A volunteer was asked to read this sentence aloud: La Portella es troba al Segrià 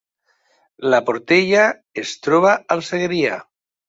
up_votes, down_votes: 3, 0